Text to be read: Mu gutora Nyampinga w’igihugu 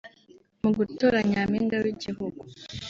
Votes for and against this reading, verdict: 0, 2, rejected